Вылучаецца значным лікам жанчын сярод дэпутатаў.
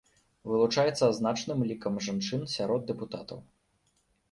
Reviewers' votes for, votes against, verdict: 2, 0, accepted